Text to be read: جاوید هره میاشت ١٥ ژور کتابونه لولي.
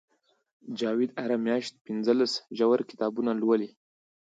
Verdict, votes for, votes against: rejected, 0, 2